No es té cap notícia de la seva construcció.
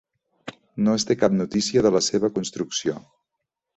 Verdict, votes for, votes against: accepted, 3, 0